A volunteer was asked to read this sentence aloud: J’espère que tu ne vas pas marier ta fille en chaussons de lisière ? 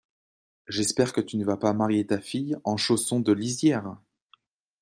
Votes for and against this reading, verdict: 2, 0, accepted